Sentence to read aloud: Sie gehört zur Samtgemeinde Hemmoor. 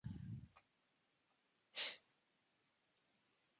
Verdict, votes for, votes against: rejected, 0, 2